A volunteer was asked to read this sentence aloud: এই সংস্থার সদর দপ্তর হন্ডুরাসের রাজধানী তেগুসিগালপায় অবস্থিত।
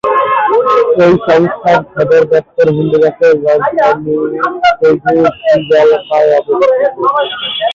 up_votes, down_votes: 0, 3